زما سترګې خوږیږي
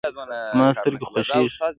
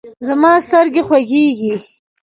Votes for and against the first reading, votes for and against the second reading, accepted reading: 1, 2, 2, 1, second